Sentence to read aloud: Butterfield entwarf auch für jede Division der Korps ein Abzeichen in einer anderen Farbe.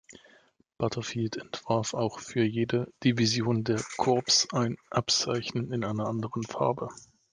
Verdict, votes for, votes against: rejected, 1, 2